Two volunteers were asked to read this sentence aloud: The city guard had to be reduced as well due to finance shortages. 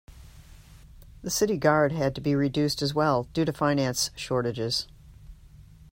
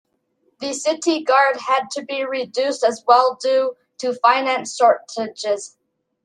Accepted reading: first